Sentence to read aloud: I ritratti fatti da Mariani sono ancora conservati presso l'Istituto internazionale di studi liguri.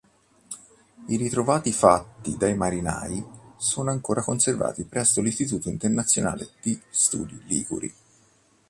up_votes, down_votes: 0, 2